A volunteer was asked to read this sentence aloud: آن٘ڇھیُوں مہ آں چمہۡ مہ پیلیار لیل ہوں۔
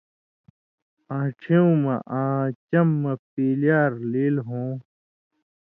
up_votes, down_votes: 2, 0